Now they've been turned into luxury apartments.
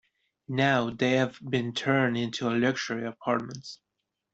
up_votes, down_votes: 0, 2